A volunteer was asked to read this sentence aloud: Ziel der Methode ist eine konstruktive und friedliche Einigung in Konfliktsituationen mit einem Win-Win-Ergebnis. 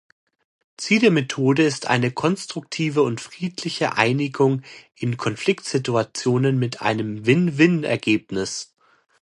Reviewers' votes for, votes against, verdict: 2, 0, accepted